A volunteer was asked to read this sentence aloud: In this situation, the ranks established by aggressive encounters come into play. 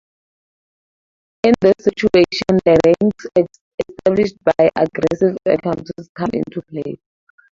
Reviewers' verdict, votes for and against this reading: rejected, 0, 4